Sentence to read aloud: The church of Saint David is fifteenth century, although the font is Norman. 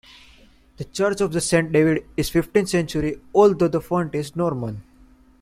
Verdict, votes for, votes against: accepted, 2, 1